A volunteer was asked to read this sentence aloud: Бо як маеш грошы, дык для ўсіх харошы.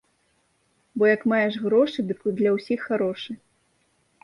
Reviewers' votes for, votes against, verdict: 1, 2, rejected